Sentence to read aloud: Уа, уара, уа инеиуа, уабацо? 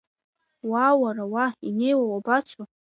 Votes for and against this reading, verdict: 0, 2, rejected